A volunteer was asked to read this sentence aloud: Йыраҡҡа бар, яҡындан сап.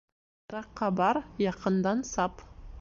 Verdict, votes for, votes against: rejected, 1, 2